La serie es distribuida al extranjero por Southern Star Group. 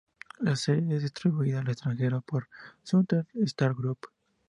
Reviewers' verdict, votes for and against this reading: accepted, 2, 0